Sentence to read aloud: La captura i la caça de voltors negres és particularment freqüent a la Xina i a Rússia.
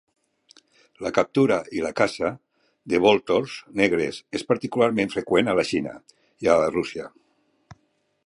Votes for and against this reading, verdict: 2, 1, accepted